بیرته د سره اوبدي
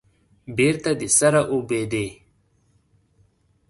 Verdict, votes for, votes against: accepted, 2, 0